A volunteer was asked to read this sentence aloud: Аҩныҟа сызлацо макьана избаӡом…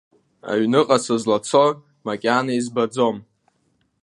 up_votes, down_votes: 2, 0